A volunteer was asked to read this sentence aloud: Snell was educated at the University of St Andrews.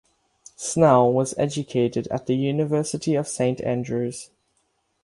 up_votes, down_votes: 6, 0